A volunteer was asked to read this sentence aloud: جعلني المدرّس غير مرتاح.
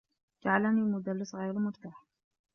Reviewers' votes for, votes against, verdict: 2, 1, accepted